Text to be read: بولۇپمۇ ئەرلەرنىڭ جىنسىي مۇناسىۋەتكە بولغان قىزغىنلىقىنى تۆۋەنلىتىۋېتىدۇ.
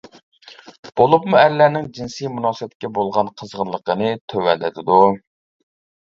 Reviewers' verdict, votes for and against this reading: rejected, 0, 2